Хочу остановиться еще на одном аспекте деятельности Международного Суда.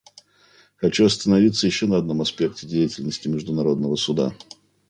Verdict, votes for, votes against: accepted, 2, 1